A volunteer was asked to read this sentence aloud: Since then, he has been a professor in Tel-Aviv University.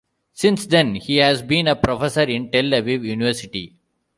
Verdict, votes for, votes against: accepted, 2, 0